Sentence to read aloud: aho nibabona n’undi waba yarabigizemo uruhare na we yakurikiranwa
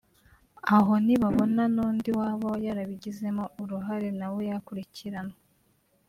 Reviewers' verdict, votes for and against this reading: rejected, 1, 2